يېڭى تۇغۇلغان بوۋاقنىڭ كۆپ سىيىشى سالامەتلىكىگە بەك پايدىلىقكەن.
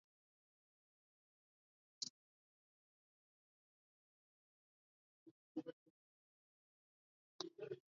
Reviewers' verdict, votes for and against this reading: rejected, 0, 2